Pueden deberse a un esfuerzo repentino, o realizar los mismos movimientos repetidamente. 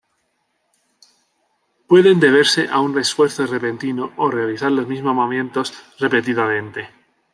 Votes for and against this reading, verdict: 1, 2, rejected